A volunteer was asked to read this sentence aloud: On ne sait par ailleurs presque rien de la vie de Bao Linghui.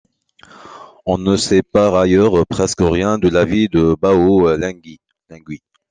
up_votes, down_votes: 0, 2